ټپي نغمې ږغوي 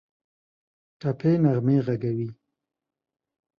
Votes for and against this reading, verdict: 0, 2, rejected